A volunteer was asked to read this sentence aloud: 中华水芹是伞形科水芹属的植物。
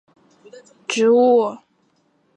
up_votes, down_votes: 0, 4